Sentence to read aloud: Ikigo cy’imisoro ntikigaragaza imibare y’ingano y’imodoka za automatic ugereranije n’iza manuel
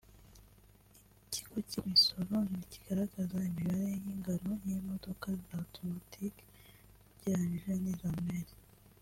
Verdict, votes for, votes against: accepted, 2, 0